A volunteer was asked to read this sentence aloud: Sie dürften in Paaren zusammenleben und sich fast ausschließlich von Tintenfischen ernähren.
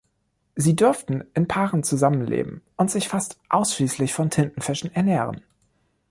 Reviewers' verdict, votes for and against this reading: accepted, 2, 0